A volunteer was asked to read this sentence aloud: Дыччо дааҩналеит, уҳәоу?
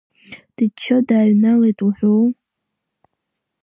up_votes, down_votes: 1, 2